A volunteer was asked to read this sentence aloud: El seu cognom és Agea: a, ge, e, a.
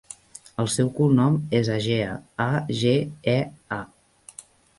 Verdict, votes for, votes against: accepted, 2, 0